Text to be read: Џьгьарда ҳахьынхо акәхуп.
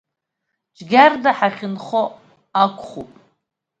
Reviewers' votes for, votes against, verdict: 0, 2, rejected